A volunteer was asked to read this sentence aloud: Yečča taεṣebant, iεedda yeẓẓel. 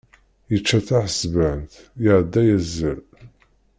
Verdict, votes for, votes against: rejected, 0, 2